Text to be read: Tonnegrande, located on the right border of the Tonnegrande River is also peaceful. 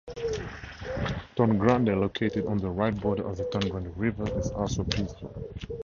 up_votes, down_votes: 2, 0